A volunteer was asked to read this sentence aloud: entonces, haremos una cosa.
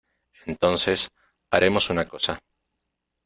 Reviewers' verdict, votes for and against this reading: accepted, 2, 0